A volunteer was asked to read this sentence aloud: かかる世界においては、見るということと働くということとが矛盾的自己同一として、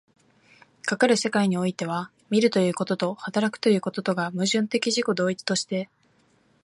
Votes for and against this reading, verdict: 3, 0, accepted